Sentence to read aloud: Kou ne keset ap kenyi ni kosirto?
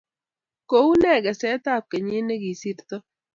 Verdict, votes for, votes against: rejected, 0, 2